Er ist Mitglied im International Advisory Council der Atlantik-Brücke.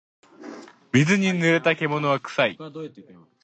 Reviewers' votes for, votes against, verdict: 0, 2, rejected